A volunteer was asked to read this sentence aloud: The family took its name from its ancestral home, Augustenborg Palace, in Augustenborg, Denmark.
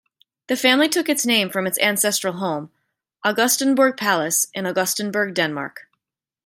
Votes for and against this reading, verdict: 2, 0, accepted